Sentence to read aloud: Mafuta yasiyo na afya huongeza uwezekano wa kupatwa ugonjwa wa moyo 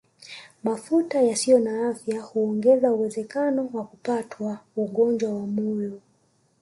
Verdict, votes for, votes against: accepted, 4, 0